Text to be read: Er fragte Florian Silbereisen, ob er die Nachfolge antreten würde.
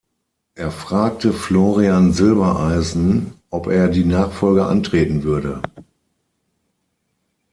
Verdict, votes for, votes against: accepted, 6, 0